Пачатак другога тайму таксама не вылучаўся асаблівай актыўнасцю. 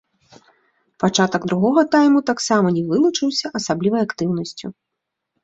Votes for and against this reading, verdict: 0, 2, rejected